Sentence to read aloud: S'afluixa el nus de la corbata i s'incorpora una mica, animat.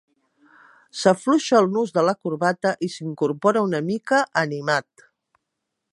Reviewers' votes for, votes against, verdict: 3, 0, accepted